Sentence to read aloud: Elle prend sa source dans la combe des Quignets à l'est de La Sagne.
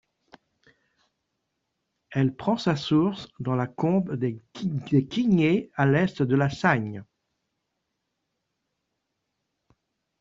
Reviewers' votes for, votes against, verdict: 0, 2, rejected